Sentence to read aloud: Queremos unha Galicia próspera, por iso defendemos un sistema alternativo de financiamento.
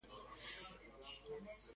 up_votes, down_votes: 0, 2